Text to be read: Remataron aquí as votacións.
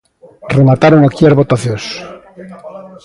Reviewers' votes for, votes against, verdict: 0, 2, rejected